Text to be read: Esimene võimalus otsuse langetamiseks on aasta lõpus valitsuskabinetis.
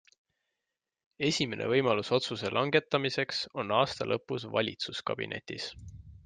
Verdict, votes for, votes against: accepted, 2, 0